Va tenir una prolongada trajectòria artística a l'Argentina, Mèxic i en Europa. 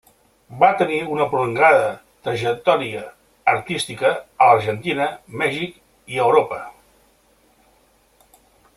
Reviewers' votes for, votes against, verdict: 2, 1, accepted